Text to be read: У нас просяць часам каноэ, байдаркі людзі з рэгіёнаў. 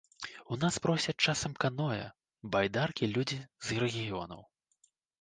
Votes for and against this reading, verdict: 1, 2, rejected